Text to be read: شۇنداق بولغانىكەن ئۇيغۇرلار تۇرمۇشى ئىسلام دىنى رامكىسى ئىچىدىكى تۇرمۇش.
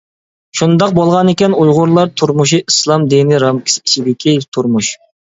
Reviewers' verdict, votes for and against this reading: accepted, 2, 0